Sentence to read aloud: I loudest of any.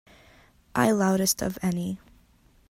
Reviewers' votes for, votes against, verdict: 2, 0, accepted